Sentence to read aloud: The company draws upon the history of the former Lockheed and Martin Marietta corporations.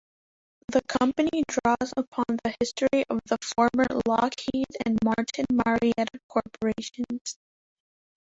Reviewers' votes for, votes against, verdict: 0, 2, rejected